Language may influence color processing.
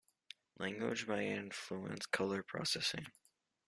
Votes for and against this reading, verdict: 1, 2, rejected